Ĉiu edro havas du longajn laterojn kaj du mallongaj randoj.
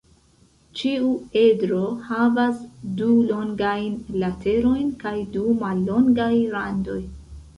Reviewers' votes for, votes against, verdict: 2, 0, accepted